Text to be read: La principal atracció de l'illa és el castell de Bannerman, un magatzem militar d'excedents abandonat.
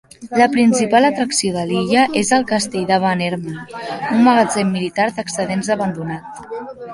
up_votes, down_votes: 3, 2